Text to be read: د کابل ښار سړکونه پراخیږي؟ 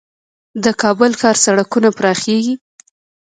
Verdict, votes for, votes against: accepted, 3, 0